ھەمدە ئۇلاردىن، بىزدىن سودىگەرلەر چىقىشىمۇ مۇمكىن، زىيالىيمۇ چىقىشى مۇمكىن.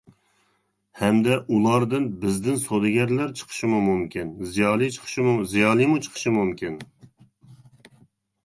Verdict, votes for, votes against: rejected, 0, 2